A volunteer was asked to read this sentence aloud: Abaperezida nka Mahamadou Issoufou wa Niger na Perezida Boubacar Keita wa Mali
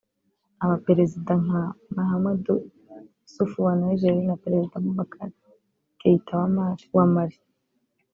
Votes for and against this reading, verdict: 0, 2, rejected